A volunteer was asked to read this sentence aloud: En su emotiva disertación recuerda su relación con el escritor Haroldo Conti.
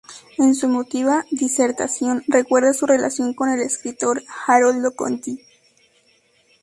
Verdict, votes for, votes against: accepted, 2, 0